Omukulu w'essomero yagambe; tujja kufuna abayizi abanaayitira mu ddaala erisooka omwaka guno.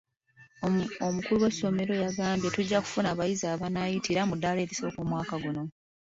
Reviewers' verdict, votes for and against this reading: rejected, 1, 2